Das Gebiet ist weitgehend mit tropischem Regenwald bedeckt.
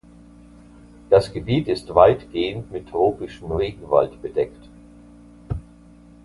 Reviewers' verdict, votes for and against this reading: accepted, 2, 0